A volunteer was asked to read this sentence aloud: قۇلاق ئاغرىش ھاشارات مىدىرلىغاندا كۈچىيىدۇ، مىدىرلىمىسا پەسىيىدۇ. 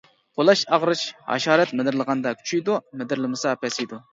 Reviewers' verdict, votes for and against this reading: rejected, 0, 2